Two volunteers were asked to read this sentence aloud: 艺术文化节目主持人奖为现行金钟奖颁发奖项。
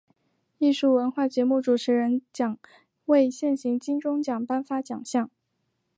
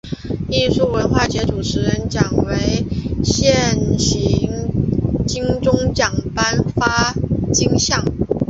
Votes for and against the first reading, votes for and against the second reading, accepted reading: 3, 0, 2, 3, first